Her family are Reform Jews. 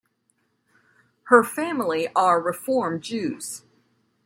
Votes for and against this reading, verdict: 2, 0, accepted